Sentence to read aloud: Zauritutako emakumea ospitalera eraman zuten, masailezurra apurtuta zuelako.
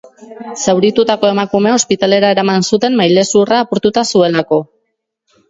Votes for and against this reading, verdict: 1, 2, rejected